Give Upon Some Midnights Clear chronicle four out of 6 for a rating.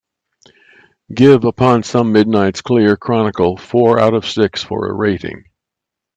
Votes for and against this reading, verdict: 0, 2, rejected